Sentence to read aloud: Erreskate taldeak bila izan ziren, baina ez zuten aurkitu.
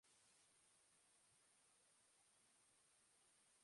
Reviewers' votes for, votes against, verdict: 0, 2, rejected